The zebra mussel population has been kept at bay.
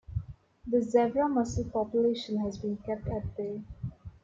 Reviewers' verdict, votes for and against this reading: accepted, 2, 0